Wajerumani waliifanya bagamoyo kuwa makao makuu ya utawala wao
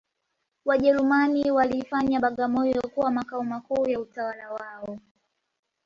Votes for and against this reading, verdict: 2, 0, accepted